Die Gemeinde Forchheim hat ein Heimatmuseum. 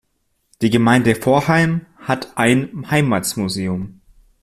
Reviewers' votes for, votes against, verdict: 1, 2, rejected